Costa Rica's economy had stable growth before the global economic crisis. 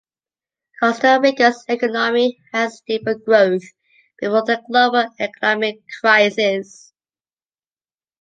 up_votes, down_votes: 2, 1